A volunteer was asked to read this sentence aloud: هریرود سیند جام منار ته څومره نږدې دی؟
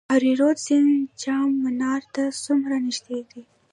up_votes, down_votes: 1, 2